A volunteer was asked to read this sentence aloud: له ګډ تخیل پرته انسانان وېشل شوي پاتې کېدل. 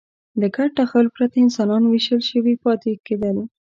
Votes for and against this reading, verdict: 2, 1, accepted